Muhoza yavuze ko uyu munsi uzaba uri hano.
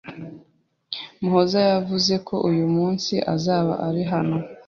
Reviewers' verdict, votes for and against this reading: rejected, 1, 2